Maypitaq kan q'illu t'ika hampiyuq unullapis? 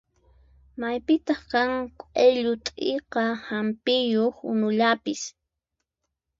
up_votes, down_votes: 4, 0